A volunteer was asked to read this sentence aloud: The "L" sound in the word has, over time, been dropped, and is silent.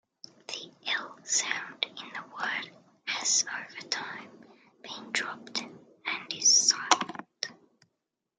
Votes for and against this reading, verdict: 0, 2, rejected